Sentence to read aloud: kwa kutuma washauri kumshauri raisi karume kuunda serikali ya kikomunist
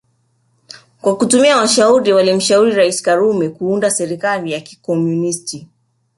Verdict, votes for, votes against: rejected, 0, 2